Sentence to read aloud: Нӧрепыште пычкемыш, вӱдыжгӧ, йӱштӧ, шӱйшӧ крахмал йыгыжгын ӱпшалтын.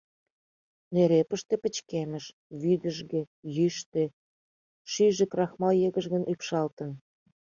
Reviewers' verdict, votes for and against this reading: rejected, 0, 2